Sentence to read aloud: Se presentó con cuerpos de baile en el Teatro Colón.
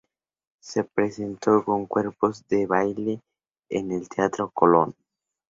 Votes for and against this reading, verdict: 2, 0, accepted